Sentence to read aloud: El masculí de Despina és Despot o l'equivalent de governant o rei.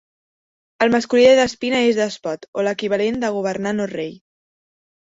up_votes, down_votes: 2, 0